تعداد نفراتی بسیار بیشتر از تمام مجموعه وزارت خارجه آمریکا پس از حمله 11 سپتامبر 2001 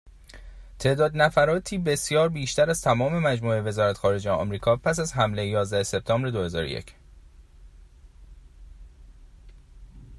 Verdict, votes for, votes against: rejected, 0, 2